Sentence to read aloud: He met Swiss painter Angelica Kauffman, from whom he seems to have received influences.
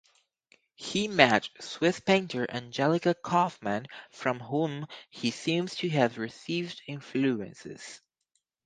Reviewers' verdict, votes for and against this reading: accepted, 4, 0